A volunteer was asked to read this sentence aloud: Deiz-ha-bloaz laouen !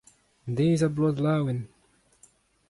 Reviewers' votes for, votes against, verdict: 2, 0, accepted